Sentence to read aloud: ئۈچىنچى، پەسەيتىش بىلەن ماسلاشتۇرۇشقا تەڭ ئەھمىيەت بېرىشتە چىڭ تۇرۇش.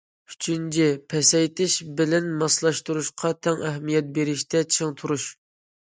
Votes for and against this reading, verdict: 2, 0, accepted